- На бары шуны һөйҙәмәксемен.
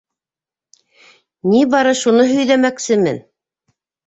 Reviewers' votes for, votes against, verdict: 2, 1, accepted